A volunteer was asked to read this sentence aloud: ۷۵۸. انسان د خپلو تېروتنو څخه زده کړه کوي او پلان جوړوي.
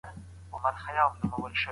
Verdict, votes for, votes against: rejected, 0, 2